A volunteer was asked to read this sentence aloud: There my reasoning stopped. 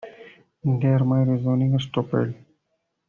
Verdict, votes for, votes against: rejected, 1, 2